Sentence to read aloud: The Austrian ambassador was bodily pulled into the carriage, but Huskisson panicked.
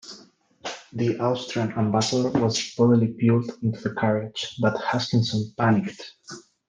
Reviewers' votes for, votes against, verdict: 1, 2, rejected